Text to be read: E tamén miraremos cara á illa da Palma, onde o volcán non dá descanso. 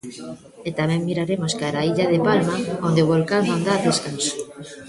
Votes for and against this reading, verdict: 0, 2, rejected